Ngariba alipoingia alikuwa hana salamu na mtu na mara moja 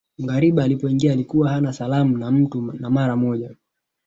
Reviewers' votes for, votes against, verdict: 2, 1, accepted